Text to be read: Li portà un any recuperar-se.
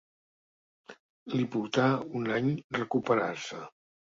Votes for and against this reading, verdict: 2, 0, accepted